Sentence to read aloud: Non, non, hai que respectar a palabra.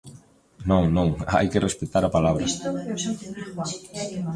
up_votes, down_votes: 1, 2